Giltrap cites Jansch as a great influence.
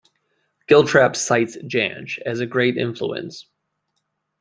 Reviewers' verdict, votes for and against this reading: accepted, 2, 0